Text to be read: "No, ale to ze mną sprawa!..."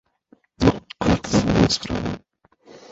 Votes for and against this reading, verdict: 0, 2, rejected